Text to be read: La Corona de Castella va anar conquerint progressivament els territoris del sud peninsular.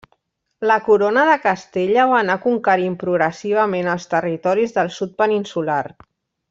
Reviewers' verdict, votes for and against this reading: accepted, 3, 0